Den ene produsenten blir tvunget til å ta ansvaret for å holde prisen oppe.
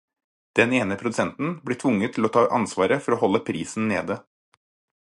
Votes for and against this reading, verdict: 2, 4, rejected